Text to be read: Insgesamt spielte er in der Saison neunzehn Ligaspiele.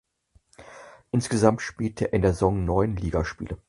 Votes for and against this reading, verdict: 2, 4, rejected